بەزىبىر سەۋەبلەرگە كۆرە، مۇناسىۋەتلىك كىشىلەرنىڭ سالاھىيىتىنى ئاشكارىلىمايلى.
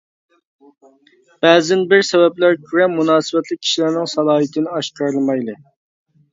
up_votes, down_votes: 0, 2